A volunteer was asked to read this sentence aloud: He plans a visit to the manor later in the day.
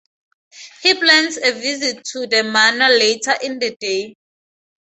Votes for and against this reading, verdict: 4, 0, accepted